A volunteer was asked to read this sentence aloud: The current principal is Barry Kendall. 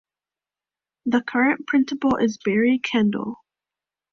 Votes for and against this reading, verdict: 2, 1, accepted